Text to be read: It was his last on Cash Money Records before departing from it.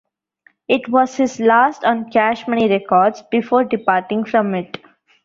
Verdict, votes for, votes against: accepted, 2, 1